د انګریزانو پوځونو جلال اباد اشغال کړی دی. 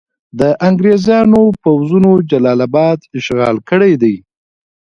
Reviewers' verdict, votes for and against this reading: rejected, 1, 2